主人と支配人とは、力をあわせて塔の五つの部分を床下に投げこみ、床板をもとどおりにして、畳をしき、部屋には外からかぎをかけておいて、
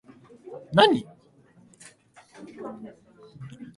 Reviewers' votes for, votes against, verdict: 0, 3, rejected